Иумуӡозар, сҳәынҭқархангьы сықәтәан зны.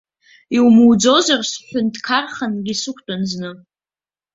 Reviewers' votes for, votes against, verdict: 1, 2, rejected